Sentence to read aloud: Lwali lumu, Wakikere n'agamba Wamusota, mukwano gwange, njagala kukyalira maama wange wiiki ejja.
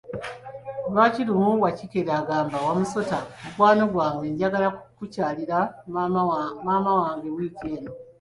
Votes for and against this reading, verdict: 0, 2, rejected